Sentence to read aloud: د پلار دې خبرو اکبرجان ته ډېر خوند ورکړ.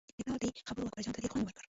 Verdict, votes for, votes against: rejected, 1, 2